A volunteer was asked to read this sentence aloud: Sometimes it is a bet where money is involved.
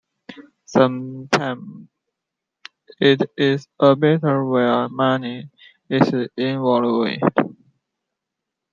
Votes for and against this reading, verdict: 1, 2, rejected